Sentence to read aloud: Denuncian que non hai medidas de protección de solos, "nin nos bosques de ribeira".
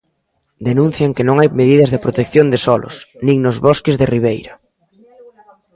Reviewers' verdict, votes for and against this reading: rejected, 1, 2